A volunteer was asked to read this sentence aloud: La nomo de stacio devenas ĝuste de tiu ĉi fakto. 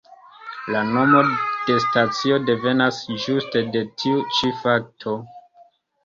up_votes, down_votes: 2, 1